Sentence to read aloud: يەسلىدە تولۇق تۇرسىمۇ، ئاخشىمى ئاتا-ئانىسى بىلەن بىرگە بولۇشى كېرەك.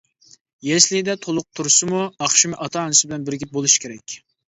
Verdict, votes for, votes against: accepted, 2, 0